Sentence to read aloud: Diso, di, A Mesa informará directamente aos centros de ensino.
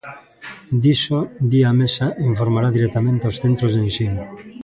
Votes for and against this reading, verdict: 2, 0, accepted